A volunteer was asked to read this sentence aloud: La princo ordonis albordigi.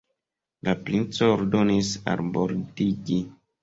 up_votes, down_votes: 2, 0